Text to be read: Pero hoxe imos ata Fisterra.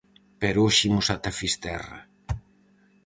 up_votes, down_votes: 4, 0